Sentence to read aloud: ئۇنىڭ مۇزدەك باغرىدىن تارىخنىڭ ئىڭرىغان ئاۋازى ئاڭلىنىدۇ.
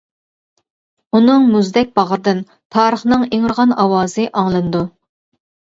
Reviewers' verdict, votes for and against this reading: accepted, 2, 0